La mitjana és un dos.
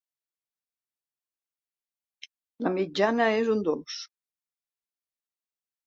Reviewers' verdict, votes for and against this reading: accepted, 3, 0